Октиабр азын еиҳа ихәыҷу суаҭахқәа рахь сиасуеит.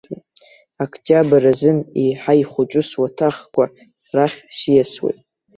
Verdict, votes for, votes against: accepted, 2, 0